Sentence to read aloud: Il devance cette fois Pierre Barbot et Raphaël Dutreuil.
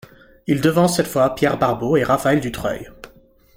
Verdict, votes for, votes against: accepted, 2, 0